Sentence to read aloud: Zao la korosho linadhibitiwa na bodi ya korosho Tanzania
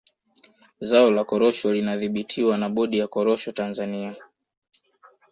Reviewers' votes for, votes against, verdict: 2, 0, accepted